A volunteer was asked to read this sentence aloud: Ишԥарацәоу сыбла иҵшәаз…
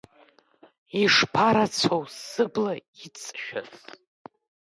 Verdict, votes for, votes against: rejected, 0, 2